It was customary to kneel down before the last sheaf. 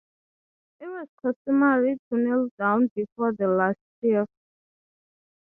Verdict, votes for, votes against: accepted, 3, 0